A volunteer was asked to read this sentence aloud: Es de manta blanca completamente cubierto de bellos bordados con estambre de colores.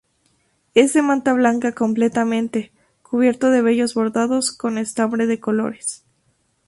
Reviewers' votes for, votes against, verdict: 0, 2, rejected